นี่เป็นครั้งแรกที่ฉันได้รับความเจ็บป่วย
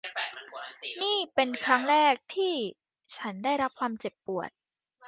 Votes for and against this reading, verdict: 0, 2, rejected